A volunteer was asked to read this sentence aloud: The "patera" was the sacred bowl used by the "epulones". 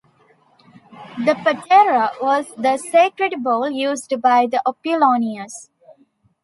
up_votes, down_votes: 1, 2